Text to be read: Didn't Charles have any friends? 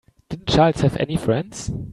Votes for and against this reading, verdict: 0, 3, rejected